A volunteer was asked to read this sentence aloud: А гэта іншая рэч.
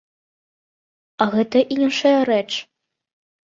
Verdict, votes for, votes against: accepted, 2, 0